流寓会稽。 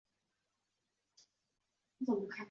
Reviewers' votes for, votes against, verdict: 0, 2, rejected